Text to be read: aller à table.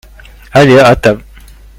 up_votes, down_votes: 1, 2